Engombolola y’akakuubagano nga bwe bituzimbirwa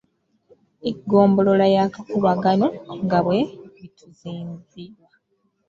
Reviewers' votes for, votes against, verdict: 1, 2, rejected